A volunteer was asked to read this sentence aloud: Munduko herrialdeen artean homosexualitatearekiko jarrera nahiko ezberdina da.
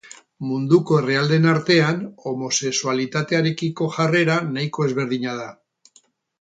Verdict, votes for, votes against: accepted, 6, 0